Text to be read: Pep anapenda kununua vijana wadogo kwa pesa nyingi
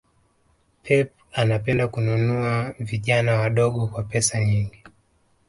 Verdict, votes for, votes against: accepted, 2, 0